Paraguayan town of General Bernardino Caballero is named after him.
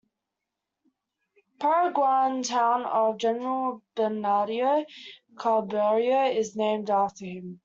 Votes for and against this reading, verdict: 0, 2, rejected